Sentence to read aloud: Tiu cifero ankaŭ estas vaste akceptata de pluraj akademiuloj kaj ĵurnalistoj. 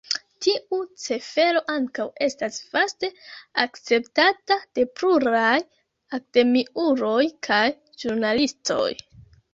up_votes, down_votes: 1, 2